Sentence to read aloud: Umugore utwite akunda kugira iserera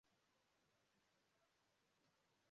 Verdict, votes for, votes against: rejected, 0, 2